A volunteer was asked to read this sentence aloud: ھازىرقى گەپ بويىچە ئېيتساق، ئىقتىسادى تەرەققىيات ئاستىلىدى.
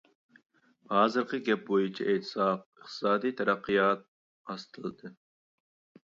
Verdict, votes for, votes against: accepted, 2, 0